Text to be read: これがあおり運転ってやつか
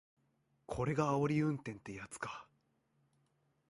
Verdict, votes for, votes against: accepted, 2, 0